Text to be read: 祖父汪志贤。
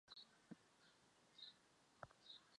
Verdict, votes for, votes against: rejected, 0, 2